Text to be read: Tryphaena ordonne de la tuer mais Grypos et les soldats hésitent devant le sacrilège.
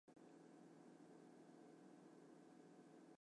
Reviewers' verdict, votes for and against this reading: rejected, 0, 2